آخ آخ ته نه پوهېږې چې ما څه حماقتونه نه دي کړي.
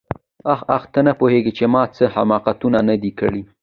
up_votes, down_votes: 2, 0